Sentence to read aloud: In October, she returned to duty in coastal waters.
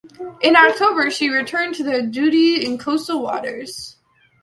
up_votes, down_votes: 2, 1